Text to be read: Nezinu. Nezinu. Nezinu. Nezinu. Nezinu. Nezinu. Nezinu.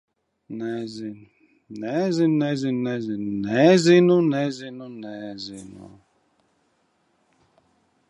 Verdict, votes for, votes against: rejected, 0, 3